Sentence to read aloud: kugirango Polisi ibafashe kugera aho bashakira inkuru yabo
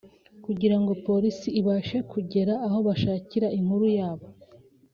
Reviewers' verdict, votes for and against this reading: accepted, 2, 0